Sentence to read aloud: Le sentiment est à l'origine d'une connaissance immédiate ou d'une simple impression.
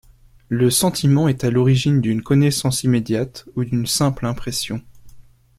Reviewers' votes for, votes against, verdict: 2, 0, accepted